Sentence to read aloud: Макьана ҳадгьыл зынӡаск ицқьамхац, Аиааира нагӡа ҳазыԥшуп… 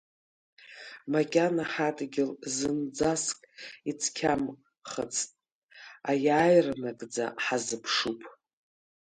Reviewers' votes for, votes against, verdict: 0, 2, rejected